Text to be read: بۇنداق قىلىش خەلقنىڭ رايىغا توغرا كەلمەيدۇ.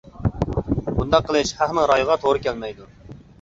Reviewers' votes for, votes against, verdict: 0, 2, rejected